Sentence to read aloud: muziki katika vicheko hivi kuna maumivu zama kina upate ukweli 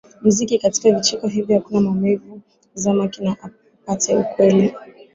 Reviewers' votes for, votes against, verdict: 2, 3, rejected